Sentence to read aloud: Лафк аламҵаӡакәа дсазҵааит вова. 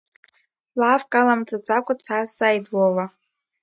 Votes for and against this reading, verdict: 2, 0, accepted